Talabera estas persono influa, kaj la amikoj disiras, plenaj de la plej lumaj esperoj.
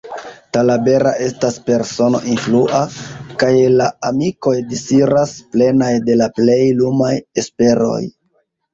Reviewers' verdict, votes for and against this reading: rejected, 1, 2